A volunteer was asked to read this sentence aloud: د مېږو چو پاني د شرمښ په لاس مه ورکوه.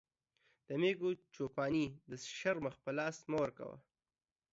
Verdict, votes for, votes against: accepted, 2, 0